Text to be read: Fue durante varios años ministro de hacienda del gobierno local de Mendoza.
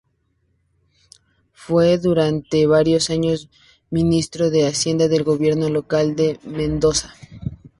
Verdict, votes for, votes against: accepted, 2, 0